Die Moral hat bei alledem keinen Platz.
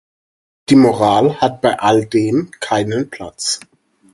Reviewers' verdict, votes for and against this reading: accepted, 4, 0